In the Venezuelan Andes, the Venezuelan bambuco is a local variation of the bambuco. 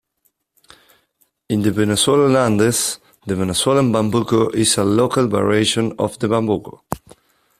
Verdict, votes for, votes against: accepted, 3, 0